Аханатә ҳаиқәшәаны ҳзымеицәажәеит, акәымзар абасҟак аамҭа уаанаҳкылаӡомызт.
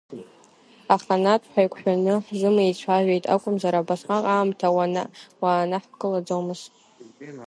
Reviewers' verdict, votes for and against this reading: rejected, 1, 3